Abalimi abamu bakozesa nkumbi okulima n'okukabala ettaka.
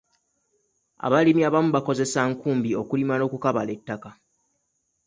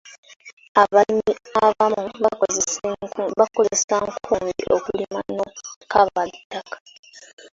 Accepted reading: first